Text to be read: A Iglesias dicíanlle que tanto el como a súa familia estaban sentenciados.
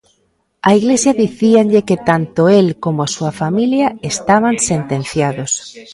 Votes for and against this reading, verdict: 0, 2, rejected